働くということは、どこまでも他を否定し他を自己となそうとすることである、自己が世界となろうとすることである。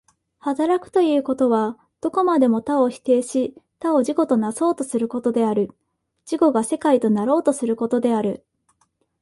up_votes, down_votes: 2, 0